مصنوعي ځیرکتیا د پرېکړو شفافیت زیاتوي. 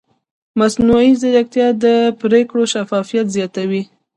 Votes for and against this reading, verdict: 0, 2, rejected